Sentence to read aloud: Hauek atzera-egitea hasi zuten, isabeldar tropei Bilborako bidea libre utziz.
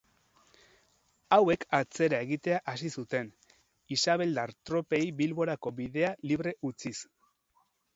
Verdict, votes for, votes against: accepted, 4, 0